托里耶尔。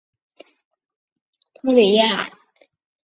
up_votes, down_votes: 0, 2